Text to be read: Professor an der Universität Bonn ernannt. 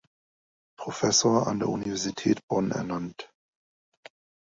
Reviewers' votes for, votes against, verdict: 2, 0, accepted